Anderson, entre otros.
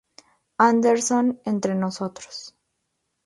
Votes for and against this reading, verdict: 0, 2, rejected